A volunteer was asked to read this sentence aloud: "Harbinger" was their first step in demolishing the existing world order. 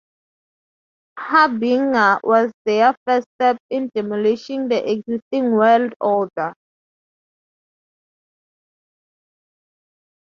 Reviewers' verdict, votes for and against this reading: rejected, 0, 2